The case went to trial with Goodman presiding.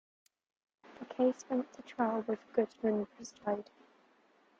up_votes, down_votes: 0, 2